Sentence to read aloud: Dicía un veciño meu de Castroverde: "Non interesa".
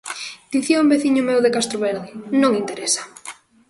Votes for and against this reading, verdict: 2, 0, accepted